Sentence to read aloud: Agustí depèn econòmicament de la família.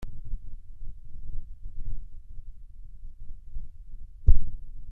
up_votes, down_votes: 0, 2